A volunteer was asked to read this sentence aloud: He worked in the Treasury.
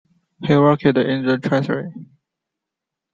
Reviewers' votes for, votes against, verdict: 1, 2, rejected